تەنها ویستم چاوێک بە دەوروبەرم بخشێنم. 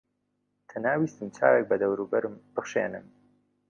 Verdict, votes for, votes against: rejected, 1, 2